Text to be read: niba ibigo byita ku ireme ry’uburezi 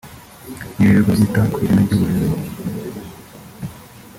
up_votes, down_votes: 1, 2